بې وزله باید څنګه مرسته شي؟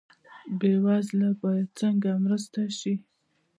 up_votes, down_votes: 2, 0